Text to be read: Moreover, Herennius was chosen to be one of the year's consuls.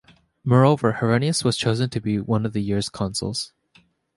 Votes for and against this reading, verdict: 2, 0, accepted